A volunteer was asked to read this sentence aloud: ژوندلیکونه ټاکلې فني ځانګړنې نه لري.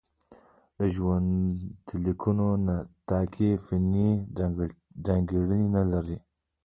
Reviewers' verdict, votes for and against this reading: rejected, 1, 2